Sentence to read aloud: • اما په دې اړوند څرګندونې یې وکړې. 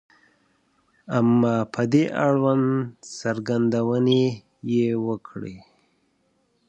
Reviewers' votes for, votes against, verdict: 2, 0, accepted